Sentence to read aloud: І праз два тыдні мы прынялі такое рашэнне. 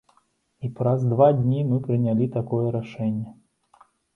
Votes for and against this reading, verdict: 1, 2, rejected